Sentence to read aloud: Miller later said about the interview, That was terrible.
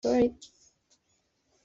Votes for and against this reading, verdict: 0, 2, rejected